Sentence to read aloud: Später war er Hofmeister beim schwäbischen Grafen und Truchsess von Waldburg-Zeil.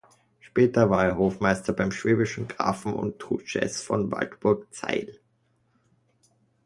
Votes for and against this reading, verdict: 2, 1, accepted